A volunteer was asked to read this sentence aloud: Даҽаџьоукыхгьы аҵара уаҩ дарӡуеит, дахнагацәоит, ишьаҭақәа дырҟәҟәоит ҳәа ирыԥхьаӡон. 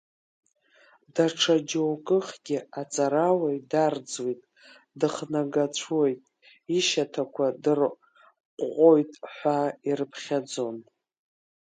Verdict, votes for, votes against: rejected, 0, 2